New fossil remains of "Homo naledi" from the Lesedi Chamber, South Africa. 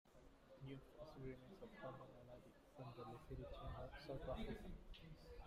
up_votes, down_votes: 0, 2